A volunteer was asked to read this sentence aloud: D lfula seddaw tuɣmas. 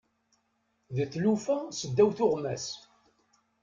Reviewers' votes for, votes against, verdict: 0, 2, rejected